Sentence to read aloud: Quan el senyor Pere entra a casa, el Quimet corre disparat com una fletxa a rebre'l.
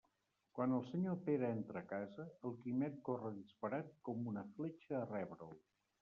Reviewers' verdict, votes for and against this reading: rejected, 0, 2